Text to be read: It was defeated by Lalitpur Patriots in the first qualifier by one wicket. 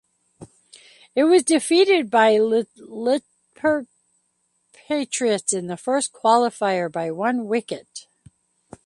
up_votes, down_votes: 0, 2